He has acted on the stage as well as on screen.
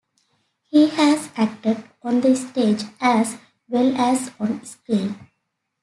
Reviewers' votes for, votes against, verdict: 2, 0, accepted